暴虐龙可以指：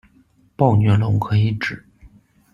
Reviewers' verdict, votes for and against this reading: accepted, 2, 0